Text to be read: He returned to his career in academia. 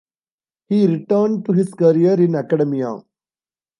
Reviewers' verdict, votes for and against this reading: rejected, 1, 2